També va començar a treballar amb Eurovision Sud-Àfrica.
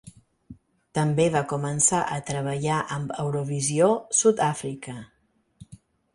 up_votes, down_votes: 4, 0